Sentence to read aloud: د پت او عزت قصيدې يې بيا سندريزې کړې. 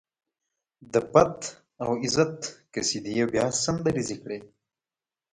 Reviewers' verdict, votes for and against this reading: accepted, 2, 0